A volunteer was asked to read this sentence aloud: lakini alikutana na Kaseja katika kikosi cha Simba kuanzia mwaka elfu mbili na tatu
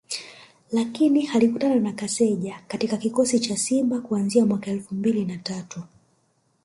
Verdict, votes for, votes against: accepted, 2, 0